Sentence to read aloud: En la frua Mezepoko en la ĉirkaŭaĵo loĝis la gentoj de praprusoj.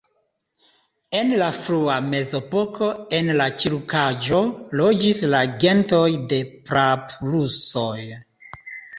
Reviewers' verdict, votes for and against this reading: accepted, 2, 0